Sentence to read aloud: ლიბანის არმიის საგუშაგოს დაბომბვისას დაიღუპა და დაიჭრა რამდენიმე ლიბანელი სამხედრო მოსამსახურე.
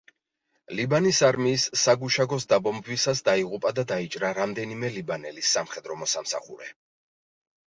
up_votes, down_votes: 3, 0